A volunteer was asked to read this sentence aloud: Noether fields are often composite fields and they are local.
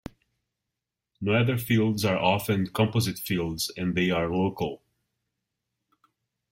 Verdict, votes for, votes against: accepted, 2, 0